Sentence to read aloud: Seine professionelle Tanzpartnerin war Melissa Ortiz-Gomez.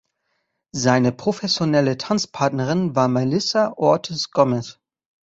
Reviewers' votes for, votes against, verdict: 1, 2, rejected